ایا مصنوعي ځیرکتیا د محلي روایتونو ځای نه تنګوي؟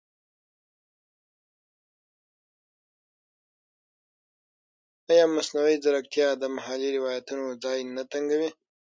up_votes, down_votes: 0, 6